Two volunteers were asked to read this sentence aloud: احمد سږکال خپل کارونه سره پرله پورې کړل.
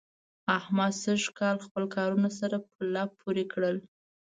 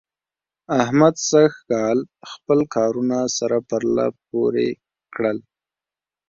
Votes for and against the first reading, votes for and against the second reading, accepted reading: 0, 2, 2, 0, second